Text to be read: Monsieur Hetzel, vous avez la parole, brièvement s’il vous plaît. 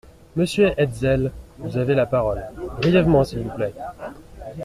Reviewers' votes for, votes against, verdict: 2, 0, accepted